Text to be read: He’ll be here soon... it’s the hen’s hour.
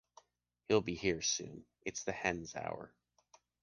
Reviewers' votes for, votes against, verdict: 2, 0, accepted